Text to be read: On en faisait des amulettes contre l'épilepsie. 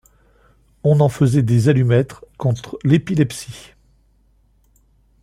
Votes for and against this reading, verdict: 1, 2, rejected